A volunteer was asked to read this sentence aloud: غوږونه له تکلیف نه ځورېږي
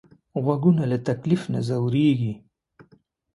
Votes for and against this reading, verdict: 2, 0, accepted